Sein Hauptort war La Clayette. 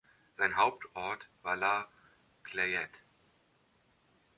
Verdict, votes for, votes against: accepted, 2, 0